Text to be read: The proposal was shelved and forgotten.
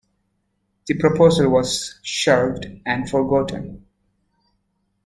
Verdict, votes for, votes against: accepted, 2, 0